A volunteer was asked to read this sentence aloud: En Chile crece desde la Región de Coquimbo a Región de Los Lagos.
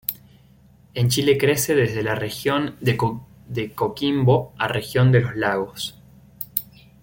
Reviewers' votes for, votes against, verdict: 0, 2, rejected